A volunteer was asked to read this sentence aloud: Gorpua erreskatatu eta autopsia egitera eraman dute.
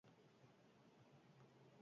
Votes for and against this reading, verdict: 0, 4, rejected